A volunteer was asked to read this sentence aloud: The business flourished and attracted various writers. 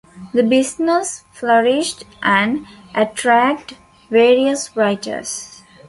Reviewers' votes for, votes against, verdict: 0, 2, rejected